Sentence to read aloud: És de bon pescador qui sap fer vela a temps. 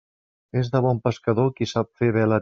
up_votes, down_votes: 1, 2